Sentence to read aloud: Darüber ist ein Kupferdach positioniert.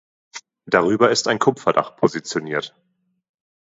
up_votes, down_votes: 2, 0